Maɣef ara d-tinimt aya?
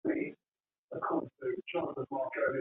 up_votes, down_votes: 1, 2